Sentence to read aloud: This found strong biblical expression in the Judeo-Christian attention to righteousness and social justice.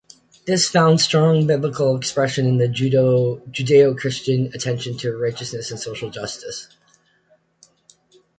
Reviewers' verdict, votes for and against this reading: accepted, 2, 1